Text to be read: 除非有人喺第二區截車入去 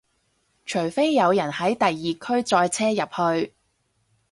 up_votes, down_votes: 2, 4